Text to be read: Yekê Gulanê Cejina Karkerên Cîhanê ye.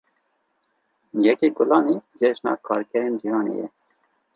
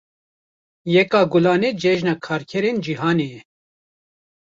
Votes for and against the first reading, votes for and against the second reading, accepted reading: 2, 0, 1, 2, first